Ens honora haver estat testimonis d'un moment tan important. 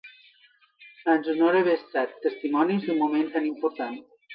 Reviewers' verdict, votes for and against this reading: accepted, 2, 0